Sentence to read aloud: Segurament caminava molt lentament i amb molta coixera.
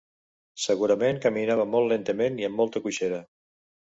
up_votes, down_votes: 2, 0